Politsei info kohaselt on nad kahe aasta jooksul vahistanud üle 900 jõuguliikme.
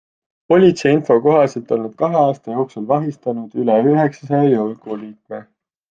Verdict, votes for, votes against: rejected, 0, 2